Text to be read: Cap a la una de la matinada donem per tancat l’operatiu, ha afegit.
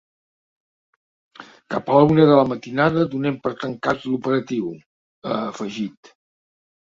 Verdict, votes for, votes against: accepted, 2, 0